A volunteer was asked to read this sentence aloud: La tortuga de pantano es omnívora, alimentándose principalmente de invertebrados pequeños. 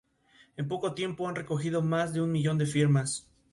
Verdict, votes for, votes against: rejected, 2, 2